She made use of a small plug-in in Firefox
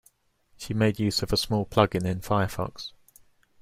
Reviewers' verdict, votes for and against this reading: accepted, 2, 0